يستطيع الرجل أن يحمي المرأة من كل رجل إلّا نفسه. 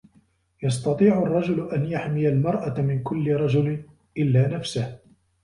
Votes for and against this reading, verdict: 2, 0, accepted